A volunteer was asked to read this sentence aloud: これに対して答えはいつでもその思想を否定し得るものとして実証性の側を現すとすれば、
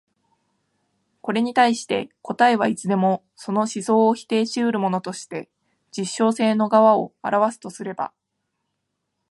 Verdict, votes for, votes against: accepted, 2, 0